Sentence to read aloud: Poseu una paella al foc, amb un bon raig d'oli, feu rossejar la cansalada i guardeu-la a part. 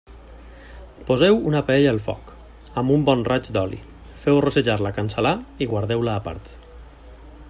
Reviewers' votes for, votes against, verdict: 0, 2, rejected